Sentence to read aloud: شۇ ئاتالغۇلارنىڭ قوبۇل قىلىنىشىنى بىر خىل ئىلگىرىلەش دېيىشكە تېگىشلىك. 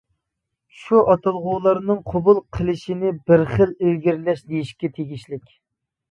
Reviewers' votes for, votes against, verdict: 0, 2, rejected